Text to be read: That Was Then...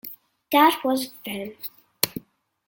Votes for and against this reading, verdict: 2, 0, accepted